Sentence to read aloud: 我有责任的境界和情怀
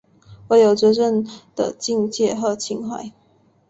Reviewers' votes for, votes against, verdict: 2, 0, accepted